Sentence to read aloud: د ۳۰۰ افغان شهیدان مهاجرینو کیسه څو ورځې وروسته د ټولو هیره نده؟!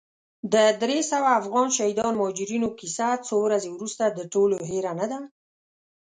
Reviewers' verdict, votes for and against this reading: rejected, 0, 2